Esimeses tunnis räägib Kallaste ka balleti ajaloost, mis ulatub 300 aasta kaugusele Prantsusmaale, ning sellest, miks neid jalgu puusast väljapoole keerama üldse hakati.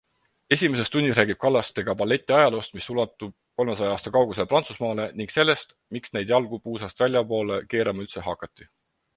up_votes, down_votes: 0, 2